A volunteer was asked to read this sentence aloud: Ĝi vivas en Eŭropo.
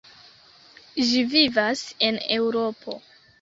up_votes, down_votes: 0, 2